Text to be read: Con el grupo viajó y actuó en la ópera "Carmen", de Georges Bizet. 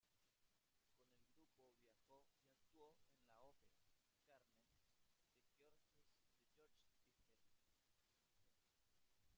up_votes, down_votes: 0, 2